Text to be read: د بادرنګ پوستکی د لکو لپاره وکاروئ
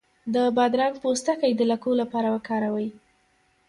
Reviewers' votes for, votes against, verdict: 0, 2, rejected